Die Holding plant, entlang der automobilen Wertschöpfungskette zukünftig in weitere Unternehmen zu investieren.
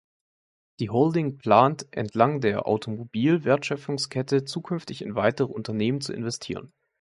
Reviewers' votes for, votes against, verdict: 2, 1, accepted